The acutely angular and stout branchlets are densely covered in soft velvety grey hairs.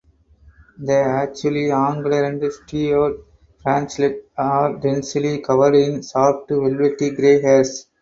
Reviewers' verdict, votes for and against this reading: rejected, 0, 4